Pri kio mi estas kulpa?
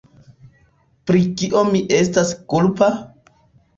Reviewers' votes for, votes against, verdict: 2, 0, accepted